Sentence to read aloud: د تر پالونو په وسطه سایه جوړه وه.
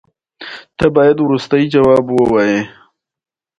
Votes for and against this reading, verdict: 0, 2, rejected